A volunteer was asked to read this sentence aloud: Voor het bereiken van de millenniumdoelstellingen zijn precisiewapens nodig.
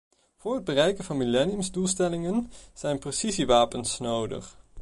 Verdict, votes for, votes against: rejected, 0, 2